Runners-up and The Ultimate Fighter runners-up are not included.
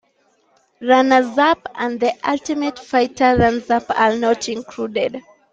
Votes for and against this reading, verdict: 0, 2, rejected